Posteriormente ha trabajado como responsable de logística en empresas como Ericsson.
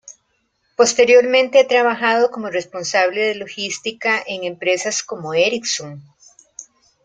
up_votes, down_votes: 2, 0